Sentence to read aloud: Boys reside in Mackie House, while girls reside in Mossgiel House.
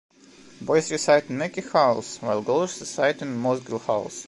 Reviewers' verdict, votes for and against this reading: accepted, 2, 1